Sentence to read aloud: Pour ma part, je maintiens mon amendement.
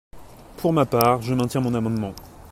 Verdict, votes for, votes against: accepted, 2, 0